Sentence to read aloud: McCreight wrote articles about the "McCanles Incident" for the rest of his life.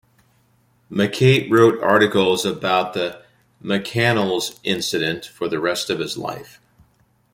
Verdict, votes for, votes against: rejected, 1, 2